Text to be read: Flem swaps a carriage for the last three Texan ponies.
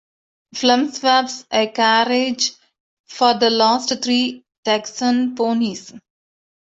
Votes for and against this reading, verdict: 0, 2, rejected